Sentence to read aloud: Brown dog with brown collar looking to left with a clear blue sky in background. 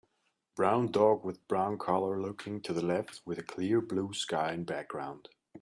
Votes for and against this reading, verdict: 1, 2, rejected